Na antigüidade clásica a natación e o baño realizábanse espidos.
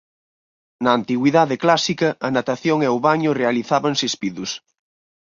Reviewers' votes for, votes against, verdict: 6, 0, accepted